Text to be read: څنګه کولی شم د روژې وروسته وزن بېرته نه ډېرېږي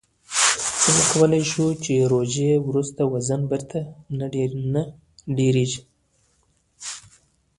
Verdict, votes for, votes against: rejected, 0, 2